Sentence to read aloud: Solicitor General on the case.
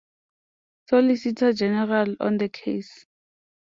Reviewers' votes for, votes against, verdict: 2, 0, accepted